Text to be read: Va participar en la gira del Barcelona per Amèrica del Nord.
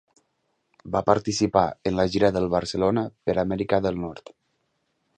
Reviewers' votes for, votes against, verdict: 2, 0, accepted